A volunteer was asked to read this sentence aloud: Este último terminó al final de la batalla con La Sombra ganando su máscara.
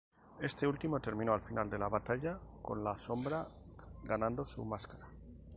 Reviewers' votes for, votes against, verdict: 0, 2, rejected